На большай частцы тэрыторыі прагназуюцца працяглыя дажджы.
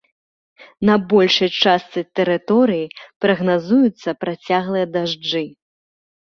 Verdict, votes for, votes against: accepted, 2, 0